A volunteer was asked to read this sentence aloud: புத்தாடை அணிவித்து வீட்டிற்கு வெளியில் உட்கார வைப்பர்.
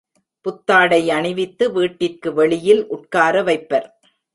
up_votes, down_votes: 2, 0